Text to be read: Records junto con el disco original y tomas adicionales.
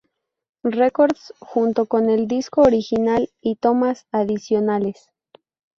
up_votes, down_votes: 2, 0